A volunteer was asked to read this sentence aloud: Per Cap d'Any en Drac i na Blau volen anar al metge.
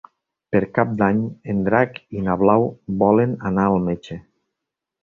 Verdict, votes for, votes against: accepted, 3, 0